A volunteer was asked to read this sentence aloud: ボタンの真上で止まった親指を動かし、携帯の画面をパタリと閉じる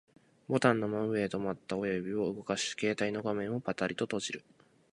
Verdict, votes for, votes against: accepted, 4, 2